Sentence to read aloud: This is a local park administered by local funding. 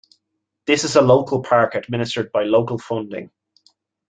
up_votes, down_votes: 2, 1